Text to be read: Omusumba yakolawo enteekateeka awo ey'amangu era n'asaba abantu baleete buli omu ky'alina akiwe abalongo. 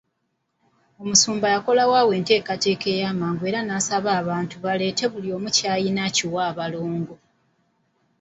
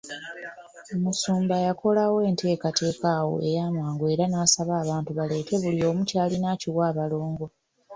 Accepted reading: second